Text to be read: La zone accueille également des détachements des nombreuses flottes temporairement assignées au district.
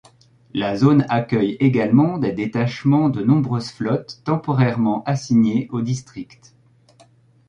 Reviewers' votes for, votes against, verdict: 0, 2, rejected